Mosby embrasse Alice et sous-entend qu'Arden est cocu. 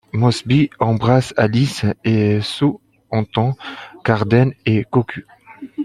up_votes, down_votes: 0, 2